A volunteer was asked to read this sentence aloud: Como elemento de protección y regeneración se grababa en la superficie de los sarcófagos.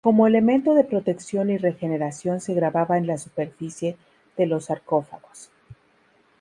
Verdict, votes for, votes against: accepted, 4, 0